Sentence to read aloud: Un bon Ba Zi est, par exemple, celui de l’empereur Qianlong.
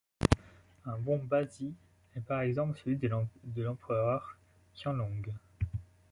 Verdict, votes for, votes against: rejected, 0, 2